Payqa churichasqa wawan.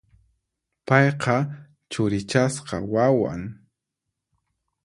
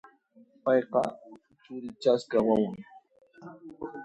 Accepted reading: first